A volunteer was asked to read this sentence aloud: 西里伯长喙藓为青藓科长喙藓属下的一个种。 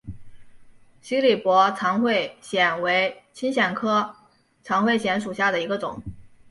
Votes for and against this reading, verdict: 2, 0, accepted